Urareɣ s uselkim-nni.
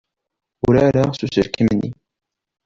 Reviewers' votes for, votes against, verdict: 2, 1, accepted